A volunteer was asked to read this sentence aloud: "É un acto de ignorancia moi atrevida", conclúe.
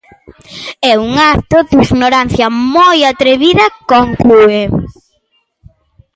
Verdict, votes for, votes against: accepted, 2, 1